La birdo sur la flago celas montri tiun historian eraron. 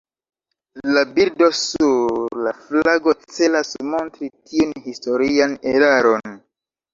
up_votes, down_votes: 2, 0